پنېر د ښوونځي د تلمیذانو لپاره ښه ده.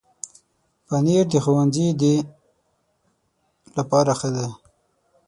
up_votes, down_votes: 3, 6